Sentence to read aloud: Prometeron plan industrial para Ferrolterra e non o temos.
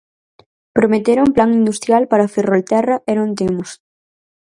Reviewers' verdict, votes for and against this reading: rejected, 0, 4